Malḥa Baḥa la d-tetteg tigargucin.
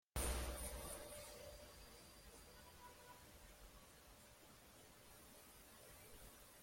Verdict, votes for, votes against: rejected, 0, 2